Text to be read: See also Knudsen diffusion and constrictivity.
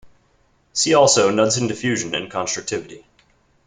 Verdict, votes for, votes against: accepted, 2, 0